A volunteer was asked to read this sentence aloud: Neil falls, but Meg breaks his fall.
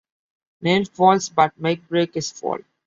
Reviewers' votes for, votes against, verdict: 1, 2, rejected